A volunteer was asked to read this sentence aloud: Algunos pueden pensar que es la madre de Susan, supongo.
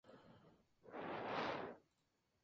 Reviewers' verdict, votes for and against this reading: rejected, 0, 2